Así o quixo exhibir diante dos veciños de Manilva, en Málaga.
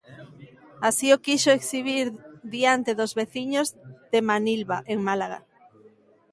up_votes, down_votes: 2, 0